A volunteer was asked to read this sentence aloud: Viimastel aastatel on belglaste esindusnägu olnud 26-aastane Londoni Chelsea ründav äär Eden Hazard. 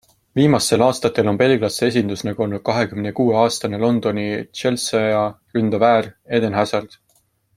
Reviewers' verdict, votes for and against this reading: rejected, 0, 2